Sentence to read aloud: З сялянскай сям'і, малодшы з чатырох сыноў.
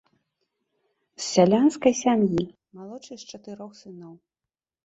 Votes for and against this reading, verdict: 1, 2, rejected